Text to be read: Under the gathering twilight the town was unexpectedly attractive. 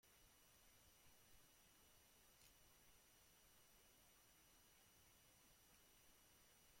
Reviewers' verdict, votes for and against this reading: rejected, 0, 2